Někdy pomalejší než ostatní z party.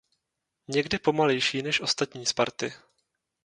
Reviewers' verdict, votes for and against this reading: rejected, 0, 2